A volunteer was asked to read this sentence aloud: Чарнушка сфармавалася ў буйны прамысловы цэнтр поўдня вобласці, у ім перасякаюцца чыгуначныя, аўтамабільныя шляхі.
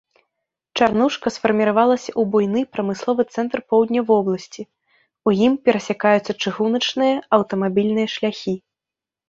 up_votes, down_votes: 0, 2